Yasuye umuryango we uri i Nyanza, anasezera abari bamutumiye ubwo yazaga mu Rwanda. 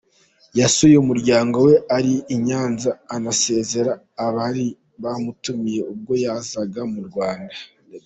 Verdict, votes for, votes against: rejected, 1, 2